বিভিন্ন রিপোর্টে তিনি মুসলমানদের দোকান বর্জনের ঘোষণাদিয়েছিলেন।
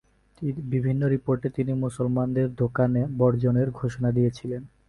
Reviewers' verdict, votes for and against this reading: rejected, 0, 2